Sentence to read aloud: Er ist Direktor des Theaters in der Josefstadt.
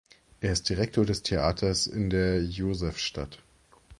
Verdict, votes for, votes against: accepted, 2, 0